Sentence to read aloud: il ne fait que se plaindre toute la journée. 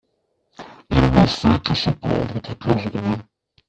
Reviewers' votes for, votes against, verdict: 2, 0, accepted